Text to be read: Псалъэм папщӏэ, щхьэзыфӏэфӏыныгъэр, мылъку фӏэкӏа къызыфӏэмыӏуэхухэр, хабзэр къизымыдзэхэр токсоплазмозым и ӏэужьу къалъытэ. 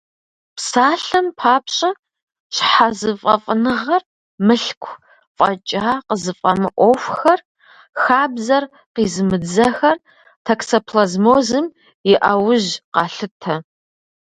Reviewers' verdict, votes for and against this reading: rejected, 0, 2